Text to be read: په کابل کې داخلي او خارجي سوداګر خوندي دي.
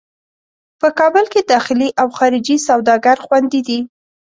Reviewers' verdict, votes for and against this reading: accepted, 2, 0